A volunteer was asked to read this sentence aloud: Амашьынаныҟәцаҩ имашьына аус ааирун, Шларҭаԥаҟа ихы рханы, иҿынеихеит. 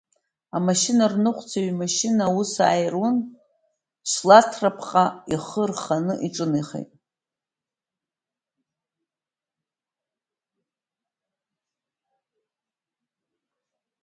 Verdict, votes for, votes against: rejected, 0, 2